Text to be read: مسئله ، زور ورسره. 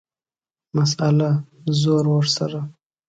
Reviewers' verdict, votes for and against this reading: accepted, 2, 0